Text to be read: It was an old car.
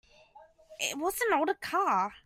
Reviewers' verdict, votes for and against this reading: accepted, 2, 0